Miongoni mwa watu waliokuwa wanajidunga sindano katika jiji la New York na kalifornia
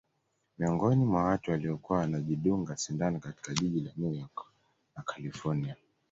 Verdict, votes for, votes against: accepted, 2, 0